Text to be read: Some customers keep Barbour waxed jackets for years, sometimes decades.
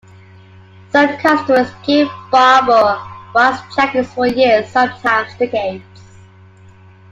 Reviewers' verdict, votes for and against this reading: accepted, 2, 0